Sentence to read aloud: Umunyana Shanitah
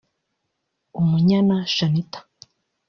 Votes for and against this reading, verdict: 0, 2, rejected